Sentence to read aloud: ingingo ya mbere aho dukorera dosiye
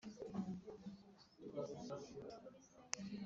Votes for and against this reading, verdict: 0, 2, rejected